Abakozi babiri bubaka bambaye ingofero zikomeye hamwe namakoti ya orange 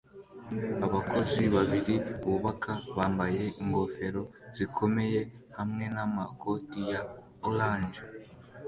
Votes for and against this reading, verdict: 2, 1, accepted